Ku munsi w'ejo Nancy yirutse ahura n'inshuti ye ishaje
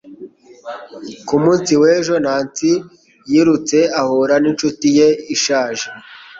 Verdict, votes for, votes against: accepted, 4, 0